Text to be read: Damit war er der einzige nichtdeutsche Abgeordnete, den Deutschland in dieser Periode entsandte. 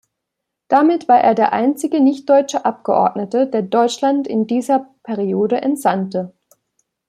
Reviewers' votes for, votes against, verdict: 1, 2, rejected